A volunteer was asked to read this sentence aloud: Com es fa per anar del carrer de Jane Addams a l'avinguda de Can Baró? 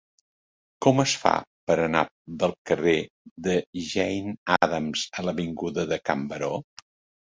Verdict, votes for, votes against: accepted, 2, 0